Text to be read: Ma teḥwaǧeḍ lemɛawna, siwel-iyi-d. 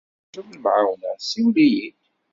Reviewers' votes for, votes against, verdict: 1, 3, rejected